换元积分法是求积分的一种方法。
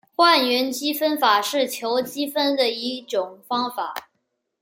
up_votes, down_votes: 2, 0